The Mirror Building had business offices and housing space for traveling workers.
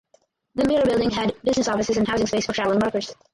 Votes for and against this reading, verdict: 0, 4, rejected